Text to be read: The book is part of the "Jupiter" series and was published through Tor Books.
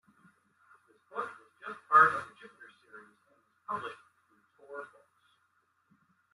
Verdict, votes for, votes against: rejected, 0, 2